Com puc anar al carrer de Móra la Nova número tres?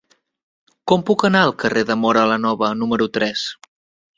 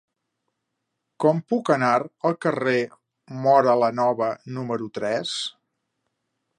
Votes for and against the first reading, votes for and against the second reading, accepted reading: 3, 0, 1, 3, first